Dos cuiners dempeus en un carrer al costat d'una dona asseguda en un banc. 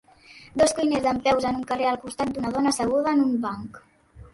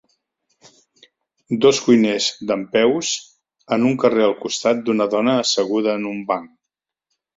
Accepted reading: second